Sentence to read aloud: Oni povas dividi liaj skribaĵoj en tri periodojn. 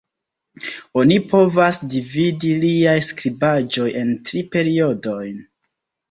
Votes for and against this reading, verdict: 1, 2, rejected